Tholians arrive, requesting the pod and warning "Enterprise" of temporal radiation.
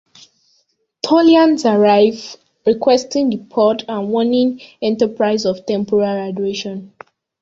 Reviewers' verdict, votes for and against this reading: rejected, 0, 2